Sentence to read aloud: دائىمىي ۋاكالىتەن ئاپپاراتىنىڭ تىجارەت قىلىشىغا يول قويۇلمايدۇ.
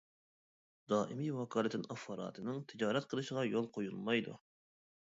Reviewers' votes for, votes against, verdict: 0, 2, rejected